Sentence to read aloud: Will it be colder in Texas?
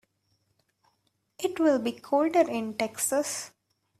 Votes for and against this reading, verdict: 1, 2, rejected